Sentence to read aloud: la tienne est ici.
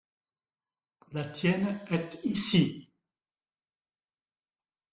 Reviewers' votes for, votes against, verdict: 2, 0, accepted